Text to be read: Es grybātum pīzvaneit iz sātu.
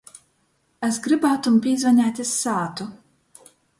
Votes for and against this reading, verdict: 2, 0, accepted